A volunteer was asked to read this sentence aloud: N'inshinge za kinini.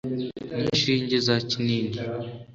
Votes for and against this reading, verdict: 2, 0, accepted